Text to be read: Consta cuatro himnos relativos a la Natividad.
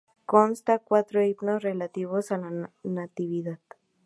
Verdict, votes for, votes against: rejected, 0, 2